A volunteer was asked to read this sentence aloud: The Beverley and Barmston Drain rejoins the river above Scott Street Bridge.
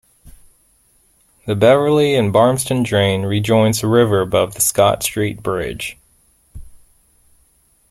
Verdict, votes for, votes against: rejected, 0, 2